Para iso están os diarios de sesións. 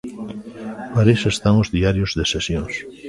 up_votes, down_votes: 1, 2